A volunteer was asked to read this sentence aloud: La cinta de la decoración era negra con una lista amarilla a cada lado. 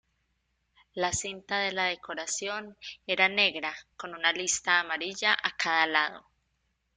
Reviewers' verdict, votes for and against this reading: accepted, 2, 0